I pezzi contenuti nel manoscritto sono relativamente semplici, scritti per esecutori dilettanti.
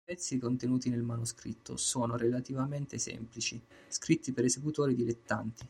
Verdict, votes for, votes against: rejected, 1, 2